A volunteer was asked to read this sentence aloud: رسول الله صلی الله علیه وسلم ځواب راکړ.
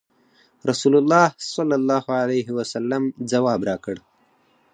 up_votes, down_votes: 4, 0